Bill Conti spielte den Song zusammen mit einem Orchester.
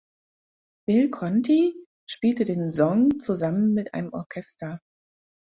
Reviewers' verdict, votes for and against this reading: rejected, 0, 4